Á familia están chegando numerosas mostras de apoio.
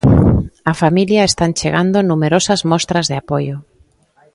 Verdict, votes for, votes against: accepted, 2, 0